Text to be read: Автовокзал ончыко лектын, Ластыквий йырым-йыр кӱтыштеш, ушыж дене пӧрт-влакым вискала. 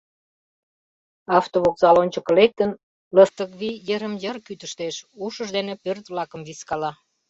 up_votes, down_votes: 1, 2